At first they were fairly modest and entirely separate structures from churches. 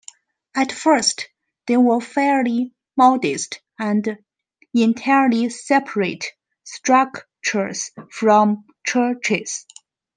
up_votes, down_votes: 2, 1